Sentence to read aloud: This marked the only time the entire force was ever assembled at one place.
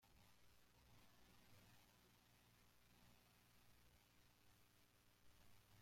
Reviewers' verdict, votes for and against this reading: rejected, 0, 2